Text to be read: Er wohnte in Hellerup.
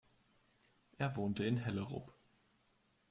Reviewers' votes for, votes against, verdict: 2, 0, accepted